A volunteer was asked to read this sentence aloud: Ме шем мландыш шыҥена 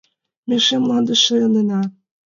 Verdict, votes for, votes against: rejected, 1, 2